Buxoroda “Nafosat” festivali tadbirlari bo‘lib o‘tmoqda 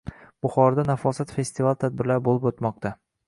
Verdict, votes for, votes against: accepted, 2, 0